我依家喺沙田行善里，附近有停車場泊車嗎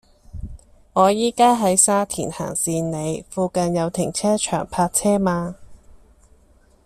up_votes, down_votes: 2, 0